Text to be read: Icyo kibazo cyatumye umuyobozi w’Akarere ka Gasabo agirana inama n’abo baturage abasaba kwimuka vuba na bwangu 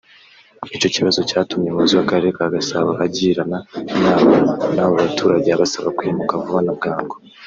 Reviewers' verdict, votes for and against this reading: accepted, 2, 0